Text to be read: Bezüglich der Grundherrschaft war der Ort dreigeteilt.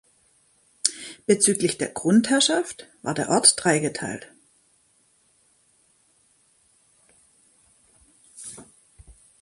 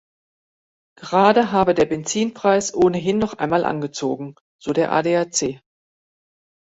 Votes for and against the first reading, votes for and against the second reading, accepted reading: 2, 0, 0, 2, first